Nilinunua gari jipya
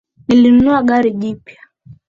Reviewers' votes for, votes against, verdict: 3, 0, accepted